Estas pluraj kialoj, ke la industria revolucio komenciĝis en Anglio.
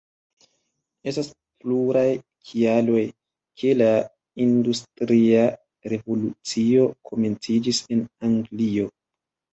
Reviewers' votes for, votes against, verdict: 2, 0, accepted